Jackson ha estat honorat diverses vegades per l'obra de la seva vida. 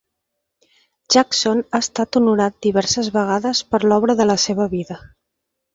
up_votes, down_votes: 4, 0